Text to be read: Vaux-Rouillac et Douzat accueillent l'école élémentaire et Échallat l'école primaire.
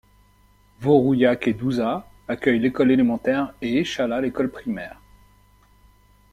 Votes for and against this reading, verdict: 2, 0, accepted